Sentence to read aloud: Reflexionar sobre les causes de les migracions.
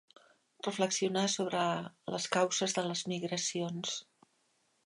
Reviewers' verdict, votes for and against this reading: rejected, 0, 4